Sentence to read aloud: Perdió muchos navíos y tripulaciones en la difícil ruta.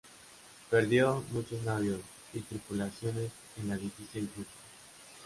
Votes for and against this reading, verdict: 0, 2, rejected